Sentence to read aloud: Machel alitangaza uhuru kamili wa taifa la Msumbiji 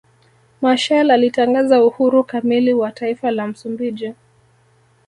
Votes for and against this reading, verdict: 2, 0, accepted